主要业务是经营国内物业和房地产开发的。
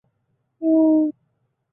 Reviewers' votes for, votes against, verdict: 1, 2, rejected